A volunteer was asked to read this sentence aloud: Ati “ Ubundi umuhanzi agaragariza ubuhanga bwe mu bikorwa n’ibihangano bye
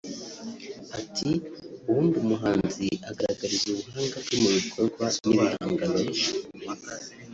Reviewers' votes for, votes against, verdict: 1, 2, rejected